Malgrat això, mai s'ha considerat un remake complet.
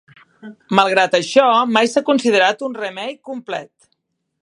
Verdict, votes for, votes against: accepted, 3, 0